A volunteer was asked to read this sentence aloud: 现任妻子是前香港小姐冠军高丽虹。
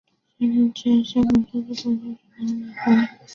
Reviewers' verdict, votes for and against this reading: rejected, 0, 2